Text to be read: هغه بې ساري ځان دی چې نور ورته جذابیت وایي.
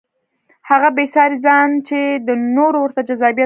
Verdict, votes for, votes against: rejected, 0, 2